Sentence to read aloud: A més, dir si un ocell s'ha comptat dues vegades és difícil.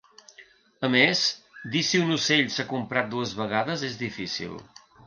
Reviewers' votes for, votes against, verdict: 2, 0, accepted